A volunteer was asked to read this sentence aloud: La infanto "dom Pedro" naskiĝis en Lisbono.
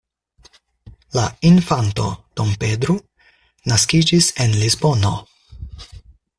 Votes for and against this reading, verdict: 4, 0, accepted